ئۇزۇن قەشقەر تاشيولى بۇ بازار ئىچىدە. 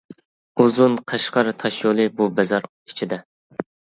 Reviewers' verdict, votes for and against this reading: accepted, 2, 0